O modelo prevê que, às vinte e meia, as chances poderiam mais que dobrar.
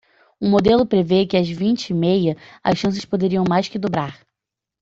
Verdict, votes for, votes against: accepted, 2, 0